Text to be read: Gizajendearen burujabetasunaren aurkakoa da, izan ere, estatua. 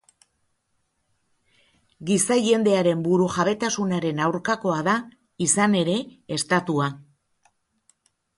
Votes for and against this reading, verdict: 4, 0, accepted